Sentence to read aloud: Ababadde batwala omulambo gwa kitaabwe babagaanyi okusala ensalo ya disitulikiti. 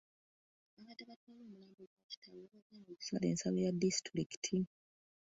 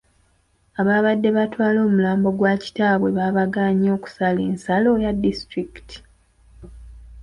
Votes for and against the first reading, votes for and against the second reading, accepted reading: 0, 2, 2, 0, second